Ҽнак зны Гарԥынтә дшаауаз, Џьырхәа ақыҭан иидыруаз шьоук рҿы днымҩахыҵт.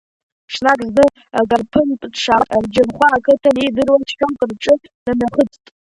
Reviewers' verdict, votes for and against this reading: accepted, 2, 0